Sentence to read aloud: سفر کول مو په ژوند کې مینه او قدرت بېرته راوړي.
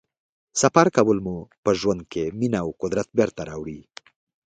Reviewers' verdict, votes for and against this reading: accepted, 2, 0